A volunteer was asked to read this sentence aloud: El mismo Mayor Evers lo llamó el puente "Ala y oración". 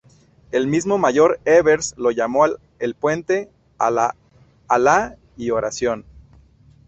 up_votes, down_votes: 0, 2